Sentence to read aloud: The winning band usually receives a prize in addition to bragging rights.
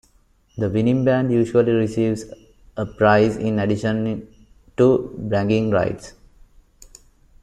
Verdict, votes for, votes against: accepted, 2, 1